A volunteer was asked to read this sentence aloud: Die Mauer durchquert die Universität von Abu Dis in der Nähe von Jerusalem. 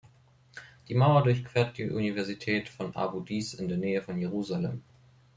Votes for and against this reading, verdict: 2, 0, accepted